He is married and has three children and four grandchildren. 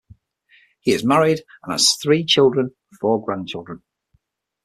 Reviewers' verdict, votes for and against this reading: accepted, 6, 0